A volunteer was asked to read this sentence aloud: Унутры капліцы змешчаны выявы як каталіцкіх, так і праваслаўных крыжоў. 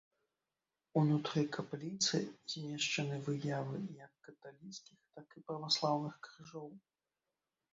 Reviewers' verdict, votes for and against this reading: rejected, 1, 2